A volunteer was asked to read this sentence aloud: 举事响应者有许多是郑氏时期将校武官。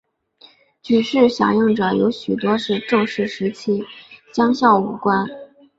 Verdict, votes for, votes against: accepted, 2, 0